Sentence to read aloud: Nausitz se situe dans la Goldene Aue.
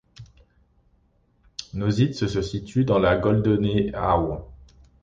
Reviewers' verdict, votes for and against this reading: rejected, 0, 2